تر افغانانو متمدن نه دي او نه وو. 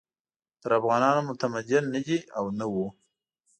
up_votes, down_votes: 2, 0